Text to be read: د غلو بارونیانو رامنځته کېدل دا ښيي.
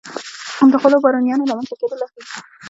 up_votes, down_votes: 0, 2